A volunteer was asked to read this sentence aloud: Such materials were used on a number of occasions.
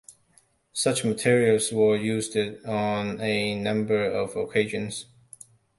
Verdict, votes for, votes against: rejected, 0, 2